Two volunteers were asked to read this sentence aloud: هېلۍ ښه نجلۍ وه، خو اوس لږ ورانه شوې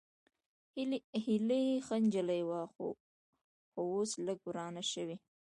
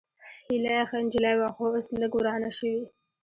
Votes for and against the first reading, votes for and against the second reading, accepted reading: 1, 2, 2, 0, second